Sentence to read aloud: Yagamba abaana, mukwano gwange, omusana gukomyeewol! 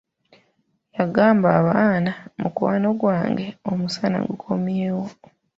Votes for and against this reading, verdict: 2, 0, accepted